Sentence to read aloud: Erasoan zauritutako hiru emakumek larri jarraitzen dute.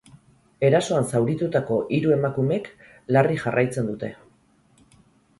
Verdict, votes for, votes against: rejected, 0, 2